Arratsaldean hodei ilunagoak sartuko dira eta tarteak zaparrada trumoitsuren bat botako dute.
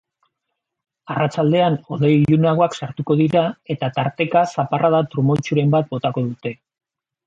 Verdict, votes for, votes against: rejected, 0, 2